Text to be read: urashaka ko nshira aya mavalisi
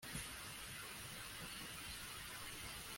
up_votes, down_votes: 1, 2